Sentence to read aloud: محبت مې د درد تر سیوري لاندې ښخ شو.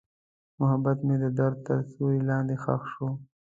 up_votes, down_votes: 2, 0